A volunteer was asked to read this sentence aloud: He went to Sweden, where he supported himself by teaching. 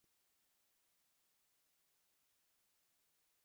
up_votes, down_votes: 0, 2